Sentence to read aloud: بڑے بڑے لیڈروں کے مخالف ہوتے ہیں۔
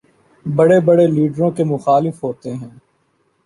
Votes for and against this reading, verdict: 1, 2, rejected